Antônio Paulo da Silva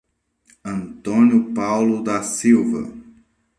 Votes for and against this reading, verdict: 2, 0, accepted